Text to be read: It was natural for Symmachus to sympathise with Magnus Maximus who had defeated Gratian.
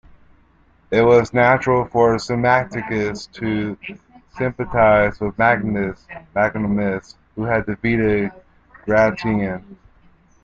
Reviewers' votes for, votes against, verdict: 1, 2, rejected